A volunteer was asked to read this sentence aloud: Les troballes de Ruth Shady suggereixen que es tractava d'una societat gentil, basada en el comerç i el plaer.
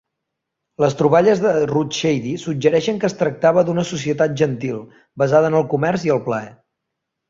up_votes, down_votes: 4, 0